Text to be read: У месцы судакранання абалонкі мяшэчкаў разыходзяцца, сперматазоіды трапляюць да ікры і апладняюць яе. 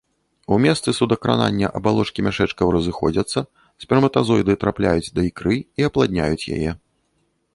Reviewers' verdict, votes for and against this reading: rejected, 1, 2